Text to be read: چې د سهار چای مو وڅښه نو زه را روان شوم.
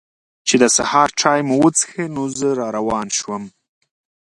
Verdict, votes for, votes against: accepted, 2, 0